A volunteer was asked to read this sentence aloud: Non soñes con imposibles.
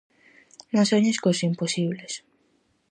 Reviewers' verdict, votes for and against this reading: rejected, 0, 4